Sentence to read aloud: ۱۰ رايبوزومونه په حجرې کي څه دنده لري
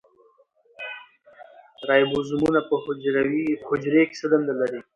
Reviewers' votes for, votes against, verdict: 0, 2, rejected